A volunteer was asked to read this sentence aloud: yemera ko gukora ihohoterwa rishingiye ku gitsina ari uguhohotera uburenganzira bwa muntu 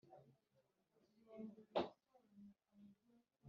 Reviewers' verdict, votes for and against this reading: rejected, 1, 2